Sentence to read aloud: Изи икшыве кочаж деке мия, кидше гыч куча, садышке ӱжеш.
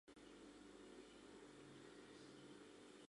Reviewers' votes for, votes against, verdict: 0, 2, rejected